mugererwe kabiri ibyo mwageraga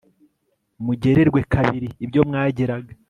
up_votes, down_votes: 2, 0